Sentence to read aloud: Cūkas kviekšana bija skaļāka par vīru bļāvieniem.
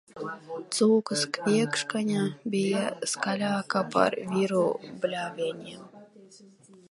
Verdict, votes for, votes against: rejected, 1, 2